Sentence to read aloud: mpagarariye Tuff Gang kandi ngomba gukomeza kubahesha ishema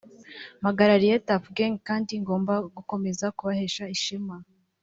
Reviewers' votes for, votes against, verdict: 2, 0, accepted